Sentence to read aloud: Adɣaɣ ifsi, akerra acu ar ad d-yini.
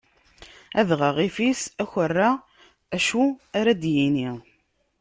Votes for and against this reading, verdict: 1, 2, rejected